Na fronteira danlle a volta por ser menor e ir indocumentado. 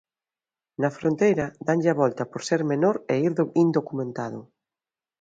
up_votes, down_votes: 0, 2